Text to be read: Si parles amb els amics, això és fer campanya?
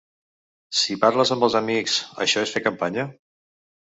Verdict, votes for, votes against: accepted, 3, 0